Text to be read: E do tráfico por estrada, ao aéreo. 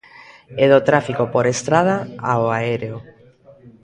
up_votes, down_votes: 2, 0